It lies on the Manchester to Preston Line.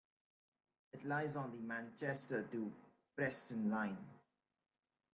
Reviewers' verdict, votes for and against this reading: accepted, 2, 0